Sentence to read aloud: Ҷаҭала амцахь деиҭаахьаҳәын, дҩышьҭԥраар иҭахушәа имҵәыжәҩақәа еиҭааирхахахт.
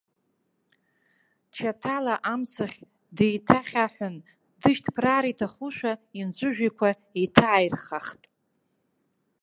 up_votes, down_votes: 1, 2